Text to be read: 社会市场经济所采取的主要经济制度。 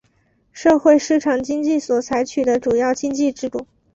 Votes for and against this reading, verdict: 2, 0, accepted